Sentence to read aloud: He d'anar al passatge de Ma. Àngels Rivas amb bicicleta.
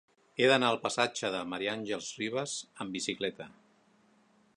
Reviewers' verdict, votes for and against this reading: accepted, 2, 0